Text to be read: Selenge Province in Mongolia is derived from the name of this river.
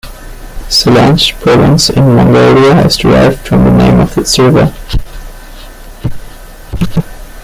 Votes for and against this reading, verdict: 0, 2, rejected